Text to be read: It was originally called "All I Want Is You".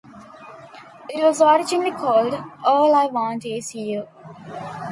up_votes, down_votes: 2, 0